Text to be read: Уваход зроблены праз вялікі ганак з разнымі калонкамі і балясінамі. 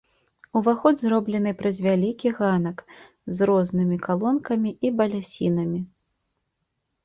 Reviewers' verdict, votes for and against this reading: rejected, 0, 2